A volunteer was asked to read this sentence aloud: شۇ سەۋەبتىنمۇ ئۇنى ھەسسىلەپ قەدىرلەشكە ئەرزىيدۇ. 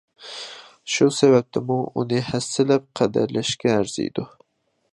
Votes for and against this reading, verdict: 2, 0, accepted